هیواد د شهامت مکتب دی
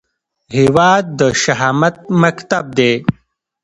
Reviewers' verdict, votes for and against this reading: accepted, 2, 0